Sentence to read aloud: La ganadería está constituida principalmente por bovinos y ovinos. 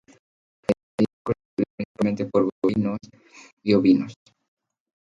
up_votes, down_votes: 0, 2